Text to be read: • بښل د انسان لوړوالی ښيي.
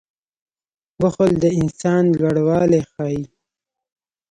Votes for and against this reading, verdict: 1, 2, rejected